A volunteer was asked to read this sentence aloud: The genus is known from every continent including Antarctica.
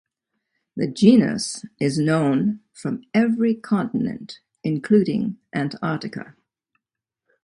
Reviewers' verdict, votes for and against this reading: accepted, 2, 0